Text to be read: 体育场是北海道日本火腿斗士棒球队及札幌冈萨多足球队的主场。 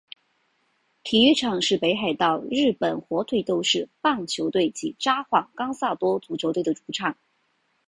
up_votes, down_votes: 4, 0